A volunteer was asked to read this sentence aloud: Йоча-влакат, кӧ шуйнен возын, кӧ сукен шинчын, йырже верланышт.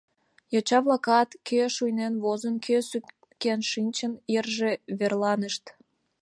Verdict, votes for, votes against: accepted, 2, 1